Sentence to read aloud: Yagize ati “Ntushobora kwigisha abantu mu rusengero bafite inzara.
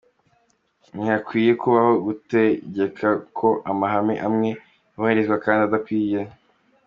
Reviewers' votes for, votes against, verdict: 1, 2, rejected